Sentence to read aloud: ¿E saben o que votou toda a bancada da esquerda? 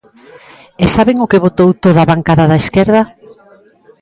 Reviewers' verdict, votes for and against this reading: accepted, 2, 0